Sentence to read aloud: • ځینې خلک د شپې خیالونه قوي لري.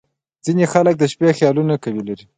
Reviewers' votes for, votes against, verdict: 2, 0, accepted